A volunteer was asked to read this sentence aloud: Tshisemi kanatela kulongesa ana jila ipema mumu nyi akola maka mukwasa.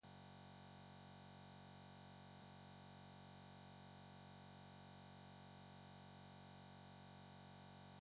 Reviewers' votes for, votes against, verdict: 1, 3, rejected